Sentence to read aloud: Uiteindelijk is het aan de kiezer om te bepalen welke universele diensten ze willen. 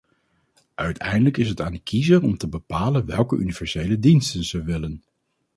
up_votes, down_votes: 4, 0